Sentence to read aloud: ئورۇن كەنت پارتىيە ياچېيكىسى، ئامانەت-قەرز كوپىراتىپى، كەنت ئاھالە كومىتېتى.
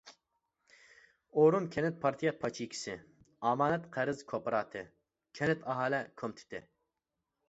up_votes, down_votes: 0, 2